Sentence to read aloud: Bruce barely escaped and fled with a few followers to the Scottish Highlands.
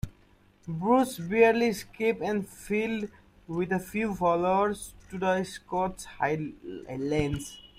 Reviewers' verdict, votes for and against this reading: rejected, 0, 2